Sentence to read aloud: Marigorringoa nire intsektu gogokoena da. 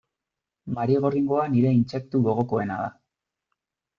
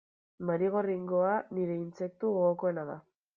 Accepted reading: first